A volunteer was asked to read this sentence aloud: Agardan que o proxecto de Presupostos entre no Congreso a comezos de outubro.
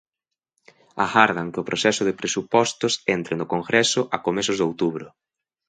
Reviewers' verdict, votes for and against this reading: rejected, 0, 2